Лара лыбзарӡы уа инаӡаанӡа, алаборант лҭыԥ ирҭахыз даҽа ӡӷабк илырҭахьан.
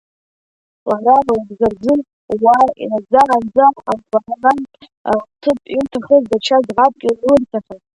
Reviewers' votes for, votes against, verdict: 0, 2, rejected